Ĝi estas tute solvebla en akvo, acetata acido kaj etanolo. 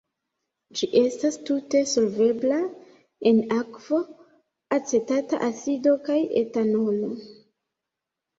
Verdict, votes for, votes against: accepted, 2, 0